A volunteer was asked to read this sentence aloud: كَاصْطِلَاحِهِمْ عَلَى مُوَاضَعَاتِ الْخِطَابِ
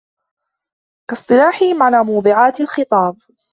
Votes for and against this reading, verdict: 1, 2, rejected